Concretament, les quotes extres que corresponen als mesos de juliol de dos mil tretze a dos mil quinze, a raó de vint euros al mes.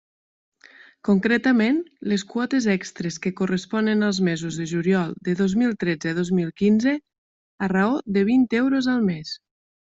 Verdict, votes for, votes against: accepted, 3, 0